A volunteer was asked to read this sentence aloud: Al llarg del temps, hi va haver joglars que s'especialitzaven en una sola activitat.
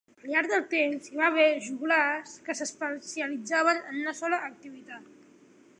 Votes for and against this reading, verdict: 2, 1, accepted